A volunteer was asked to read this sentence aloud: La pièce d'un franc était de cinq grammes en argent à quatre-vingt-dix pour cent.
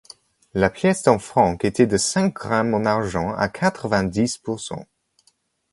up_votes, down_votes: 2, 1